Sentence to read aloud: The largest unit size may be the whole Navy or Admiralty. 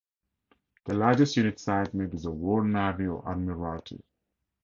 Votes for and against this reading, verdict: 2, 2, rejected